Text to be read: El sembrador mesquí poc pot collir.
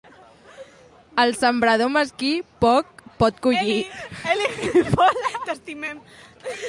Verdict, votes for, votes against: accepted, 2, 0